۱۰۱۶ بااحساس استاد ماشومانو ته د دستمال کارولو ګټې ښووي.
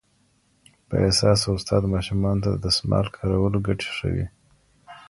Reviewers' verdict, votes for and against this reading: rejected, 0, 2